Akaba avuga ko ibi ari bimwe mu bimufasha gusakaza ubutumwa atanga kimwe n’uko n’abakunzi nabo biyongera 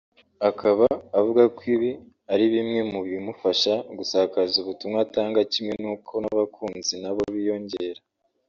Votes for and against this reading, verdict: 2, 1, accepted